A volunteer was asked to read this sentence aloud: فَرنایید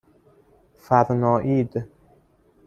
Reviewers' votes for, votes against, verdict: 0, 2, rejected